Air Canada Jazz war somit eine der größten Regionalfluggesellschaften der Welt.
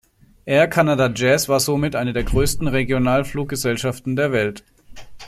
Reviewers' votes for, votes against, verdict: 2, 1, accepted